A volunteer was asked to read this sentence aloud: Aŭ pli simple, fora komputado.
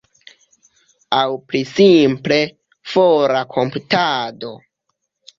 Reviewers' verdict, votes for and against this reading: rejected, 0, 2